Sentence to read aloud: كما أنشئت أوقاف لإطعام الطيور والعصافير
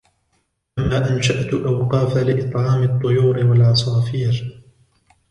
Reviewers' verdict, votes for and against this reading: rejected, 1, 2